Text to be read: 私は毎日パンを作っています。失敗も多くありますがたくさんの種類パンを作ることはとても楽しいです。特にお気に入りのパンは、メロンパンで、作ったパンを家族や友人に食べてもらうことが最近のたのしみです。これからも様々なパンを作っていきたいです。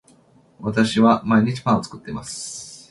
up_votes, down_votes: 0, 2